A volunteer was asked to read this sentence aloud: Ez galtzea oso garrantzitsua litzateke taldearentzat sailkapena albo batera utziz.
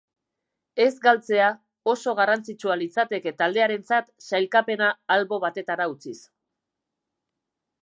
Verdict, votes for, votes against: rejected, 1, 2